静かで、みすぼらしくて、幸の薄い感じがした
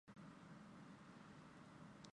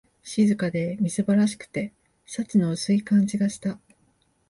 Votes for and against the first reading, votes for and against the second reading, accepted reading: 0, 2, 2, 0, second